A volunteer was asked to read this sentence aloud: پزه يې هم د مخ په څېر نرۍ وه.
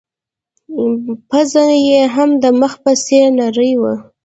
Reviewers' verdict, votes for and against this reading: rejected, 0, 2